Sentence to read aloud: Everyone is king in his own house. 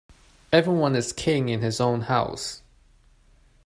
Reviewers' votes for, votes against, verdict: 2, 0, accepted